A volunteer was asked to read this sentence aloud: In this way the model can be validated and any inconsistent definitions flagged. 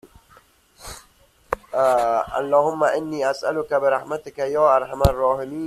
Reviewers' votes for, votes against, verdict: 0, 2, rejected